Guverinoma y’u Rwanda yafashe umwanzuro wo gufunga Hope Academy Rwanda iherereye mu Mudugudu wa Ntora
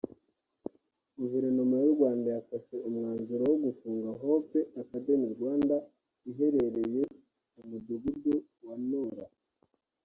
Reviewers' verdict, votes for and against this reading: accepted, 2, 0